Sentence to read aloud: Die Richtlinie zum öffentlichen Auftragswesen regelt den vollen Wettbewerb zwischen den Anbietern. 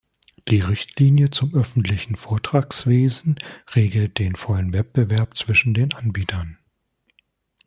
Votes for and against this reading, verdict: 0, 2, rejected